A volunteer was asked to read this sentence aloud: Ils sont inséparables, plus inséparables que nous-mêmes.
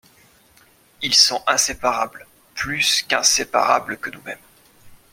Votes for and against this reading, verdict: 1, 2, rejected